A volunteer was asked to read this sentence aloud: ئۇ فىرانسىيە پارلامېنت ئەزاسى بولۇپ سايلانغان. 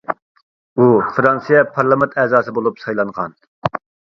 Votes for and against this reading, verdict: 2, 0, accepted